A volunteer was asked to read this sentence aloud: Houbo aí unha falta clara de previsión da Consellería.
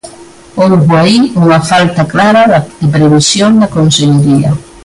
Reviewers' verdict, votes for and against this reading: rejected, 1, 2